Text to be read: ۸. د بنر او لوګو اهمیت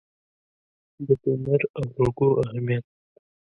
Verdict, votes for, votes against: rejected, 0, 2